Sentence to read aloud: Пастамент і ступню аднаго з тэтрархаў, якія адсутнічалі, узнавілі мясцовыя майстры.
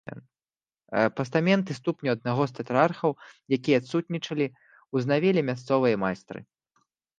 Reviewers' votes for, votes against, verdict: 1, 2, rejected